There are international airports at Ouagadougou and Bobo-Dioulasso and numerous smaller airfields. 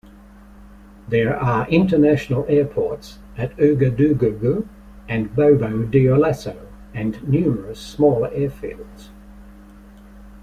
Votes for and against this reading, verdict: 0, 2, rejected